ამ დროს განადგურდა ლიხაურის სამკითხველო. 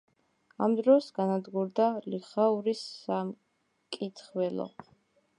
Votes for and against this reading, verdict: 1, 2, rejected